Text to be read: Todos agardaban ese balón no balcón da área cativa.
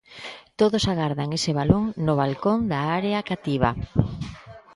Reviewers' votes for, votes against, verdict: 0, 2, rejected